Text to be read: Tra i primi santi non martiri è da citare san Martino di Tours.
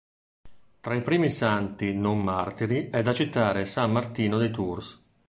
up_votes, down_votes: 2, 0